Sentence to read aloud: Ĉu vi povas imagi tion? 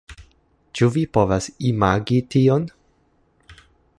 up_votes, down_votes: 2, 0